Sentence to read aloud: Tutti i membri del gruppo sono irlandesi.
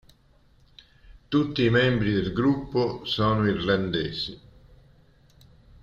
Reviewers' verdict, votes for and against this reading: accepted, 3, 1